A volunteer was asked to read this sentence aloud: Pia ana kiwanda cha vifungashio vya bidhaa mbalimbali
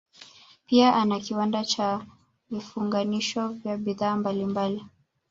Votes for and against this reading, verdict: 1, 2, rejected